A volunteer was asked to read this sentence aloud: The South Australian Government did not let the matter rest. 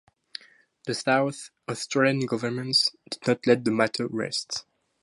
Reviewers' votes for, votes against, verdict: 0, 2, rejected